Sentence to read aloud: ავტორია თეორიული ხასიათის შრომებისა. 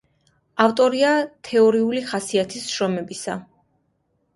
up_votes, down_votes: 2, 0